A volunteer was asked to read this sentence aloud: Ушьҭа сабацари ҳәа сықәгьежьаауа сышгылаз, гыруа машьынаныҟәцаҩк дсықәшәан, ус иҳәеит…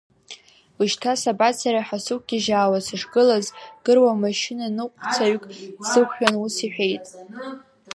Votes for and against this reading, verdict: 1, 2, rejected